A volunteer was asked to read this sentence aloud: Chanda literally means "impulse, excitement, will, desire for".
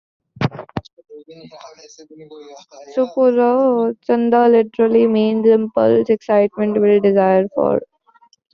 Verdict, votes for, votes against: rejected, 0, 2